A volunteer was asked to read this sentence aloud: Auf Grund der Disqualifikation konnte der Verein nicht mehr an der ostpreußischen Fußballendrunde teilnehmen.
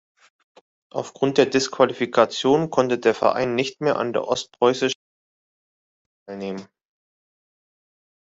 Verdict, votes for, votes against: rejected, 0, 2